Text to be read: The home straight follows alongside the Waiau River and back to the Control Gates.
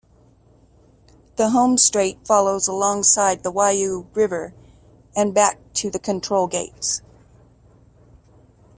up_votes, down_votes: 2, 0